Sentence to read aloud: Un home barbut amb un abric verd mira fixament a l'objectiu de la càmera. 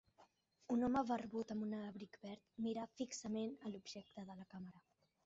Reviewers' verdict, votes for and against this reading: rejected, 1, 2